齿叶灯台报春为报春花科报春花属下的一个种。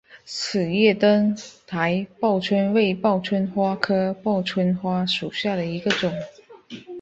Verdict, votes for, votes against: accepted, 2, 0